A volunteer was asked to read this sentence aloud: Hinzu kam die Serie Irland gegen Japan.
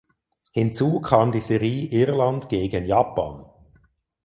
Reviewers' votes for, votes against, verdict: 0, 4, rejected